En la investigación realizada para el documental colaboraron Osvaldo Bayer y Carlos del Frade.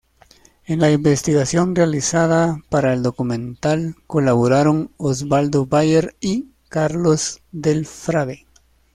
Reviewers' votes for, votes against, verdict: 2, 0, accepted